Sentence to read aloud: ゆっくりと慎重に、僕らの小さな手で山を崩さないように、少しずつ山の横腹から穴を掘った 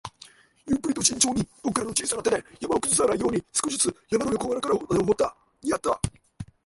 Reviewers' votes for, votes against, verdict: 0, 2, rejected